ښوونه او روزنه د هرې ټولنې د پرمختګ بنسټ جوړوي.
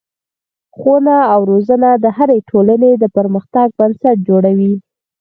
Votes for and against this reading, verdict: 4, 0, accepted